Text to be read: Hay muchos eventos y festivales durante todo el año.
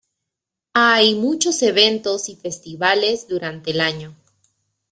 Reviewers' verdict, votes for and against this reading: rejected, 1, 2